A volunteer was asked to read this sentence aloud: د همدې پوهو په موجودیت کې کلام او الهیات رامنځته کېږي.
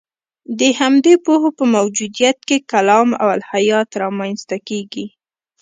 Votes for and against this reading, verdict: 2, 0, accepted